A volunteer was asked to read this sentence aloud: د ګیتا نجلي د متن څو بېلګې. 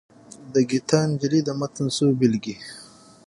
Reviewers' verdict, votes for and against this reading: accepted, 6, 3